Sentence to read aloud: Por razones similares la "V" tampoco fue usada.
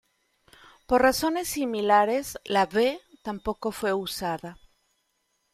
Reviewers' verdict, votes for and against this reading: accepted, 2, 1